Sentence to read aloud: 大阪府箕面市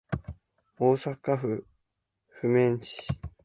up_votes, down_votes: 1, 2